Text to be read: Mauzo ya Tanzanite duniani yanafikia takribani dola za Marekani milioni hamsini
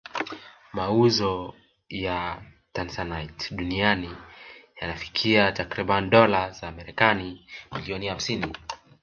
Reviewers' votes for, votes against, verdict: 4, 0, accepted